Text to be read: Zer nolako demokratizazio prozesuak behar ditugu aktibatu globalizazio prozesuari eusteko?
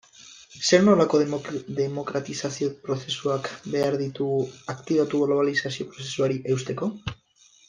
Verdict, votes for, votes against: rejected, 2, 2